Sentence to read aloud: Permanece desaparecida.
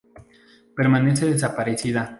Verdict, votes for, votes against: accepted, 4, 0